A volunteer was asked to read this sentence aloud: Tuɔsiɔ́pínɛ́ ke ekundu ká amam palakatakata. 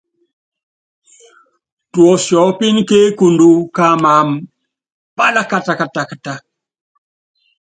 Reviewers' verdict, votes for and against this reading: accepted, 2, 0